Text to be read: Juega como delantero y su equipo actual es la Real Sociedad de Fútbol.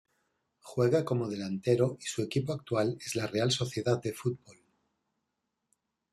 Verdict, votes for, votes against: rejected, 1, 2